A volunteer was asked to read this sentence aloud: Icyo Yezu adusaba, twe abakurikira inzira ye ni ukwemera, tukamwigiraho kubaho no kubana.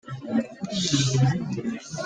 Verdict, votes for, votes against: rejected, 1, 2